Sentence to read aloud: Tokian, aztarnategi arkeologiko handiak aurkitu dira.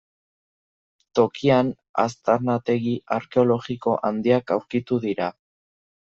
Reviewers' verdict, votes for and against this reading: accepted, 2, 0